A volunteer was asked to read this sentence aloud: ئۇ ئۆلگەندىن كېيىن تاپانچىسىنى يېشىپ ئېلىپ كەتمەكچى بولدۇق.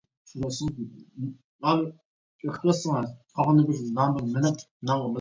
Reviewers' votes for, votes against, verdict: 0, 2, rejected